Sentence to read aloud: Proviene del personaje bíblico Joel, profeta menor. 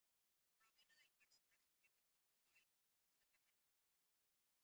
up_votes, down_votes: 0, 2